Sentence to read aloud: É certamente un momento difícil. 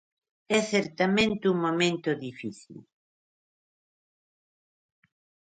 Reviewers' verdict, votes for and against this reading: accepted, 2, 0